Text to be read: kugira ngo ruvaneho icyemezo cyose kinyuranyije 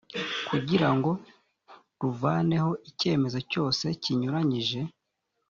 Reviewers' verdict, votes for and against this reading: accepted, 2, 0